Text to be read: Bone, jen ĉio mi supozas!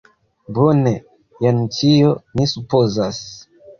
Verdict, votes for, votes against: accepted, 2, 1